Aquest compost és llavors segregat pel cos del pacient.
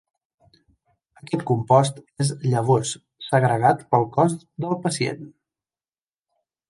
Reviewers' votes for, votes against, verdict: 3, 0, accepted